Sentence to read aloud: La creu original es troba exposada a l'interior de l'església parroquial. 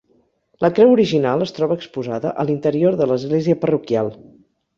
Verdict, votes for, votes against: accepted, 6, 0